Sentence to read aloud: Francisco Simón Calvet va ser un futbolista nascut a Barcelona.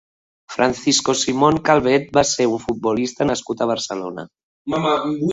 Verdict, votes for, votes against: rejected, 2, 3